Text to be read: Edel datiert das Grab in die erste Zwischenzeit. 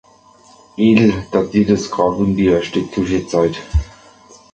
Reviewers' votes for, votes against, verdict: 0, 2, rejected